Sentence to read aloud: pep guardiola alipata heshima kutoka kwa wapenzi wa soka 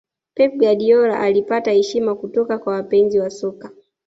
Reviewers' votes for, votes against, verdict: 2, 1, accepted